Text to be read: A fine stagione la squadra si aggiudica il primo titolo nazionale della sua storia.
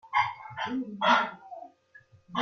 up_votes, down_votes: 0, 2